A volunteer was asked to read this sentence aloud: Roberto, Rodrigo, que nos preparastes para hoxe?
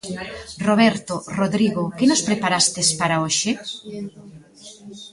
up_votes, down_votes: 2, 1